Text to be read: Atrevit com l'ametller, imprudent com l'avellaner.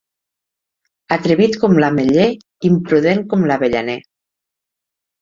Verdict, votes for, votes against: accepted, 4, 0